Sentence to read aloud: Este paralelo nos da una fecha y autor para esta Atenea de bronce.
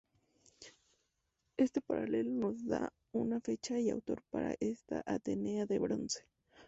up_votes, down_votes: 2, 0